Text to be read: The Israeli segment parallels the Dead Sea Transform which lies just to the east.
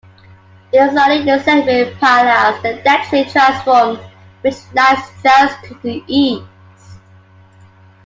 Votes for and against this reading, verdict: 0, 2, rejected